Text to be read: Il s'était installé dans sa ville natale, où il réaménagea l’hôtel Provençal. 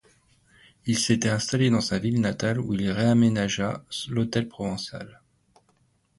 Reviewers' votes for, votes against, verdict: 1, 2, rejected